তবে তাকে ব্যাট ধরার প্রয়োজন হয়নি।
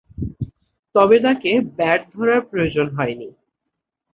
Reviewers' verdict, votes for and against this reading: accepted, 11, 0